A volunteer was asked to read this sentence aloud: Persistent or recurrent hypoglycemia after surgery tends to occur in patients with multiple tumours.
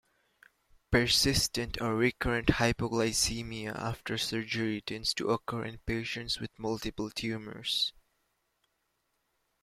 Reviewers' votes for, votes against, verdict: 2, 0, accepted